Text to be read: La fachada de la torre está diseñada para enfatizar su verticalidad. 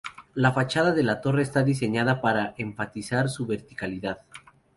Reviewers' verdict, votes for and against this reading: rejected, 0, 2